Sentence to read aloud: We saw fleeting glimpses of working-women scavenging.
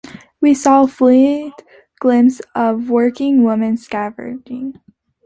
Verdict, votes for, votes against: rejected, 0, 2